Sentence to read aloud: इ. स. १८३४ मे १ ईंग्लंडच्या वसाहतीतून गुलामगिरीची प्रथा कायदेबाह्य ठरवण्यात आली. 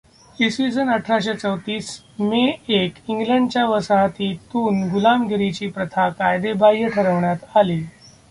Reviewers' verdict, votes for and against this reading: rejected, 0, 2